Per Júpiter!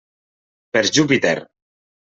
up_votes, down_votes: 3, 0